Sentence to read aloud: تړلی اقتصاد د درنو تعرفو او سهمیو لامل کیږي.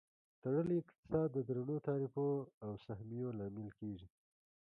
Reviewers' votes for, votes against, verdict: 1, 2, rejected